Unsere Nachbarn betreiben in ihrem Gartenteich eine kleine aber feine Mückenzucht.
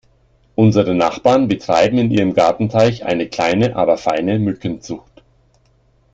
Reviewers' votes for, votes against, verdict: 2, 0, accepted